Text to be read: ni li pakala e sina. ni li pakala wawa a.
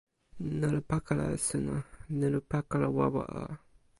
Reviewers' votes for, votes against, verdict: 0, 2, rejected